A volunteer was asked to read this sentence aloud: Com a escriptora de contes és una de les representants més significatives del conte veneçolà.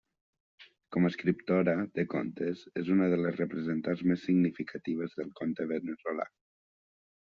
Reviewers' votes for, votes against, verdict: 1, 2, rejected